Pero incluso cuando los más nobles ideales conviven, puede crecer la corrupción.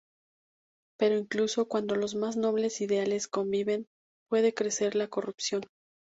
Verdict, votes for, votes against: accepted, 2, 0